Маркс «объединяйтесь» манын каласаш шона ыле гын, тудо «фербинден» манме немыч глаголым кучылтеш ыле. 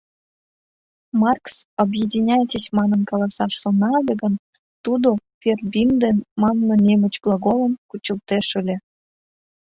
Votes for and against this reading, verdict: 1, 2, rejected